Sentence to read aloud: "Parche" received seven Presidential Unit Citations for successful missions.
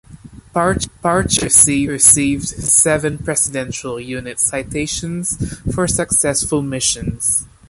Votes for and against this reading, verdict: 2, 3, rejected